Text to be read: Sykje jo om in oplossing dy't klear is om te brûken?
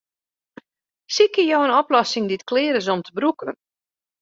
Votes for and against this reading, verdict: 0, 2, rejected